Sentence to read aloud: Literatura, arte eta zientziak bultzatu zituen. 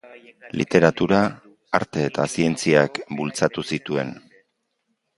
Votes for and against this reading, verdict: 1, 2, rejected